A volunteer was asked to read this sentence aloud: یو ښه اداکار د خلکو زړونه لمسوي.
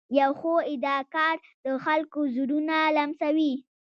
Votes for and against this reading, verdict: 1, 2, rejected